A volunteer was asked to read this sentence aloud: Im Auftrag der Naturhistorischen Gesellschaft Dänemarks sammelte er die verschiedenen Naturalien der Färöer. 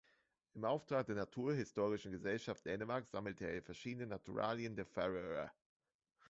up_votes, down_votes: 1, 2